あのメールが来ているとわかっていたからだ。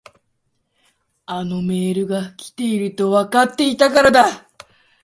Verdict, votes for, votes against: rejected, 0, 2